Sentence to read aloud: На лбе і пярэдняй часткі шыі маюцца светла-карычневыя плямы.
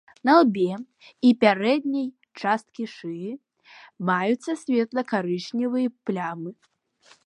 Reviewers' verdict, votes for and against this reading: accepted, 2, 0